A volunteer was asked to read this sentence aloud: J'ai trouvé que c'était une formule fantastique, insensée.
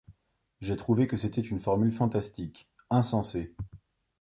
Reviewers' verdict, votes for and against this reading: accepted, 2, 0